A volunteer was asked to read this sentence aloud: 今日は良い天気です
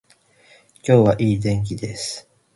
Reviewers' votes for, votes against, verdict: 2, 2, rejected